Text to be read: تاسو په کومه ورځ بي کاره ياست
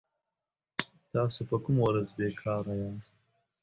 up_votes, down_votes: 2, 0